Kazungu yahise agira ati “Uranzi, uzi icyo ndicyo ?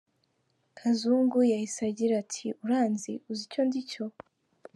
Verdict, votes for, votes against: rejected, 1, 2